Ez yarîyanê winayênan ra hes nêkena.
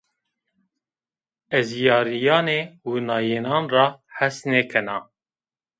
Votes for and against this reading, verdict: 2, 0, accepted